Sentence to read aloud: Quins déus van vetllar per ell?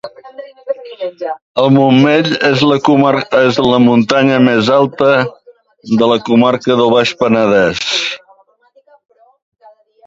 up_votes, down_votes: 0, 2